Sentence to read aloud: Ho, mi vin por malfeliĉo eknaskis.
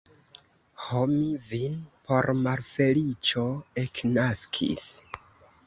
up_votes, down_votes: 2, 0